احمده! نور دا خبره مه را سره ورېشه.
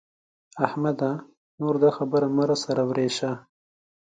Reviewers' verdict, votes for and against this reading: accepted, 2, 0